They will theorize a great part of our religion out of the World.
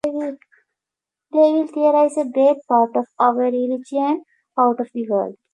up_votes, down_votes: 2, 1